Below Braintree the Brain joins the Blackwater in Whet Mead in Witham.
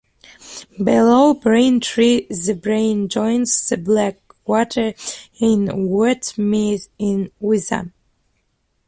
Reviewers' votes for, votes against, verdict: 0, 2, rejected